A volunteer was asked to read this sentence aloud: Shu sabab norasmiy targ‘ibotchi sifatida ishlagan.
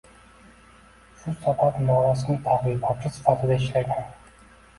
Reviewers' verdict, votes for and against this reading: accepted, 2, 1